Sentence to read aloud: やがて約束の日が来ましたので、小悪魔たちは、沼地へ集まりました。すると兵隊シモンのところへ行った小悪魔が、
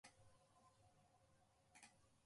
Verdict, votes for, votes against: rejected, 0, 2